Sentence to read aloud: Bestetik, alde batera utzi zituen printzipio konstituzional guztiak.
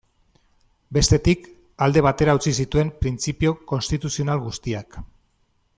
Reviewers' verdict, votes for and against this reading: accepted, 2, 0